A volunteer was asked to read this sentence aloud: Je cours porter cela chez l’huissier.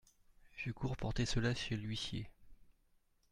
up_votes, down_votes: 2, 0